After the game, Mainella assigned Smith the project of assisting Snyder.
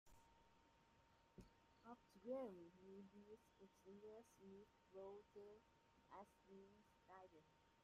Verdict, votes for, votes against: rejected, 0, 2